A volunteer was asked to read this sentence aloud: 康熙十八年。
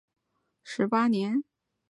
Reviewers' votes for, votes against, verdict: 1, 2, rejected